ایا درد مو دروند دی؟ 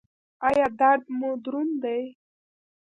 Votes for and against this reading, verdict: 1, 2, rejected